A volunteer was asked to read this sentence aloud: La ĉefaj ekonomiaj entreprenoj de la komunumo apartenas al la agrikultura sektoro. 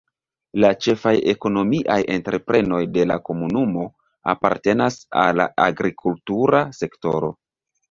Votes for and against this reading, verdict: 1, 2, rejected